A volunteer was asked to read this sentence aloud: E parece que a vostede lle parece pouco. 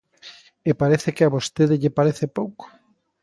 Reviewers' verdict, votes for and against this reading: accepted, 2, 0